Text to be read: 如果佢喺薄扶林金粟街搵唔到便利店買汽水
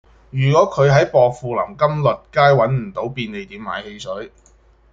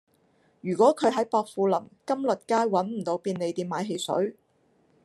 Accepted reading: first